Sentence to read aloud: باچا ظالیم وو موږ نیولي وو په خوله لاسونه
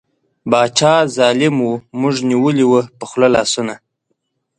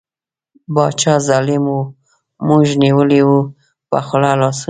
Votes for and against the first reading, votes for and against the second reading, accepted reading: 2, 0, 1, 2, first